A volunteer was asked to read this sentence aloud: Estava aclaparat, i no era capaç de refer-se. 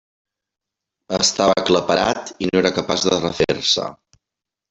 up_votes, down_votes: 0, 2